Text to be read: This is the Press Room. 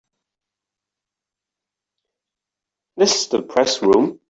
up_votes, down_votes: 2, 3